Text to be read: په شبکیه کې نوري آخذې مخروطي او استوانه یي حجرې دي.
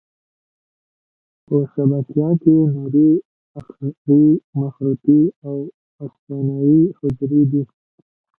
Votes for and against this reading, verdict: 0, 2, rejected